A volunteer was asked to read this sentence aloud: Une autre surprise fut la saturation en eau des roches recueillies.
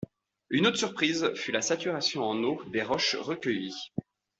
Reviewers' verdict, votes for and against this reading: accepted, 2, 0